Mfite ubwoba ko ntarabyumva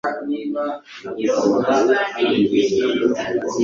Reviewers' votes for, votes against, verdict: 2, 3, rejected